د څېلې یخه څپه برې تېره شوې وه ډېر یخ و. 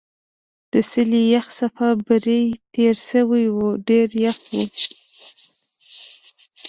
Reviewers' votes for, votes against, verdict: 1, 2, rejected